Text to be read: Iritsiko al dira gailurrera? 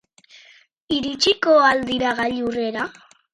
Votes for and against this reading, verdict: 4, 0, accepted